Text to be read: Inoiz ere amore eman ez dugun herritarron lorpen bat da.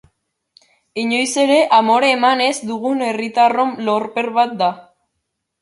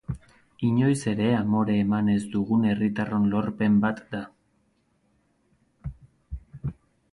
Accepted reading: second